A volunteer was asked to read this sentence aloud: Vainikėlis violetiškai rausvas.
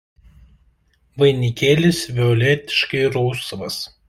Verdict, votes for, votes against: accepted, 2, 0